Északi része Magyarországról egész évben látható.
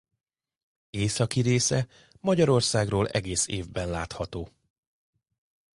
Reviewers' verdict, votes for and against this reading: accepted, 2, 0